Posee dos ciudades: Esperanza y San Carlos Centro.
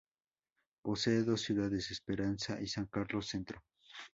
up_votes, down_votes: 2, 0